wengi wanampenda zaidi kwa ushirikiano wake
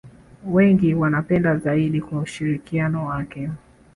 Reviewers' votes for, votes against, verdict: 0, 2, rejected